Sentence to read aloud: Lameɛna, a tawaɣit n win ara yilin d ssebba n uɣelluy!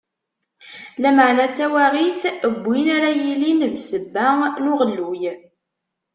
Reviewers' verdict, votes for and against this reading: rejected, 1, 2